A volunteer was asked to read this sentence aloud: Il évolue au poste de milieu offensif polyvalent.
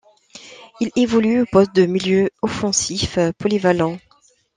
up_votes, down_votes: 1, 2